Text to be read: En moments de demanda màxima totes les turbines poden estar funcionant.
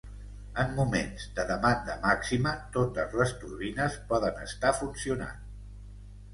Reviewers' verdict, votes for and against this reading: accepted, 2, 0